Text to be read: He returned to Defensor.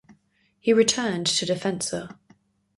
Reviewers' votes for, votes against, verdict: 4, 0, accepted